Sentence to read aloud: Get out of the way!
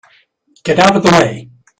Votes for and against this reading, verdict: 0, 2, rejected